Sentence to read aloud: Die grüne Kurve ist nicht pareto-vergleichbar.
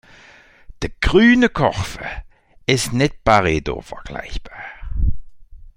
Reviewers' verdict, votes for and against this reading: rejected, 0, 2